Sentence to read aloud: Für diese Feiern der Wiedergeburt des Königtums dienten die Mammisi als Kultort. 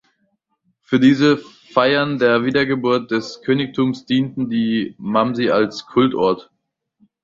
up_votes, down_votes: 0, 2